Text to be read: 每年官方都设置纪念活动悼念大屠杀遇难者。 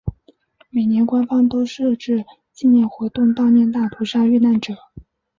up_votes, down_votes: 2, 1